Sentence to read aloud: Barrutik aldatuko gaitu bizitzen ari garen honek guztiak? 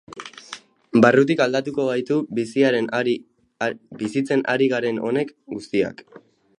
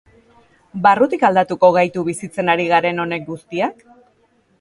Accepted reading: second